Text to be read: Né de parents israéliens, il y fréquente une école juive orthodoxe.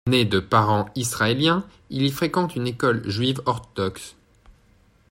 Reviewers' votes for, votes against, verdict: 0, 2, rejected